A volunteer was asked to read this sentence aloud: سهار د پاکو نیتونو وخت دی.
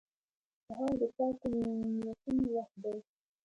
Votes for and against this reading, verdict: 0, 2, rejected